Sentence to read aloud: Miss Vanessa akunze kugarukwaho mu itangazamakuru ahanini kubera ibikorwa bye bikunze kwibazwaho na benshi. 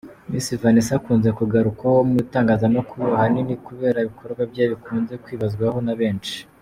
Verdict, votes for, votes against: accepted, 2, 0